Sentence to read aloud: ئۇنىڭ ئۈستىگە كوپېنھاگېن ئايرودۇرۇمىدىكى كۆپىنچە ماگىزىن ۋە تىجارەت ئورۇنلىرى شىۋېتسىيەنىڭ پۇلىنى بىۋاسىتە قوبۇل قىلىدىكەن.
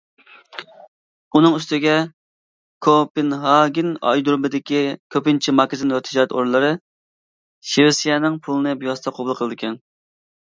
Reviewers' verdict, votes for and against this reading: rejected, 0, 2